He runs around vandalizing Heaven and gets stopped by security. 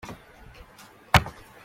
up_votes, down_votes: 0, 2